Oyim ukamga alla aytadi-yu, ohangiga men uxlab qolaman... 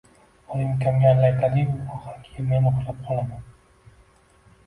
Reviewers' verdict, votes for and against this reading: accepted, 2, 0